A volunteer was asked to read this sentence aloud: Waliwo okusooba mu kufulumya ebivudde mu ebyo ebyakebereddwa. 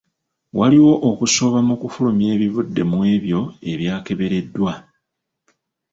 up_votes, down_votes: 2, 1